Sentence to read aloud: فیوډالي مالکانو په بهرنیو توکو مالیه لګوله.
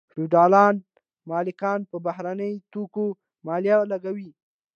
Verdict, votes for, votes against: accepted, 2, 0